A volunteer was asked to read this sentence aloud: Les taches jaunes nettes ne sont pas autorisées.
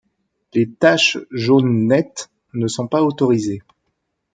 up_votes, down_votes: 2, 0